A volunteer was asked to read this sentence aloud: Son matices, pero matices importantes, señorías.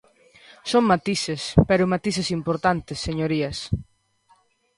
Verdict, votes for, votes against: rejected, 1, 2